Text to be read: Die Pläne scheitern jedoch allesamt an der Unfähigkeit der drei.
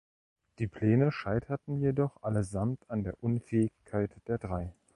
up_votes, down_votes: 1, 2